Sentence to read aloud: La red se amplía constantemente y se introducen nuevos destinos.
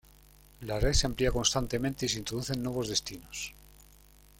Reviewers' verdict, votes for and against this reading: accepted, 2, 0